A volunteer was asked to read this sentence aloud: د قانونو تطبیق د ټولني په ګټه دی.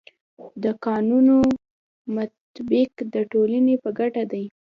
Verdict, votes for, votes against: rejected, 0, 2